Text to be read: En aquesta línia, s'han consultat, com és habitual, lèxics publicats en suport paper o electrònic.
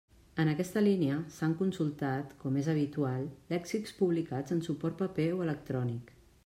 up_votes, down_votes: 2, 0